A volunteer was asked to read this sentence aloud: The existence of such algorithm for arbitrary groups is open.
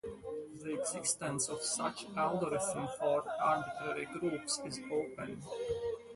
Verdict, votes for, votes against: accepted, 2, 0